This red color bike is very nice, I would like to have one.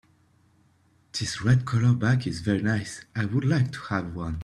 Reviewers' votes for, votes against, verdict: 2, 0, accepted